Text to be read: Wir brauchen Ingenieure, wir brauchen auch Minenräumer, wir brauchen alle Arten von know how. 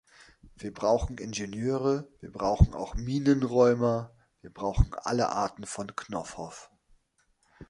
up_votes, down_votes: 0, 3